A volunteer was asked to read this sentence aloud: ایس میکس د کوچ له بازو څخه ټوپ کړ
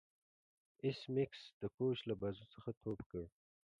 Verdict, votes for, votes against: rejected, 0, 2